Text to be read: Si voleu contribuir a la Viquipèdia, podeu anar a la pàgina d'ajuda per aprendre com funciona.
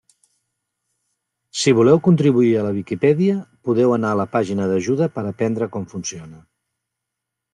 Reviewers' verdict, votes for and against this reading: accepted, 2, 0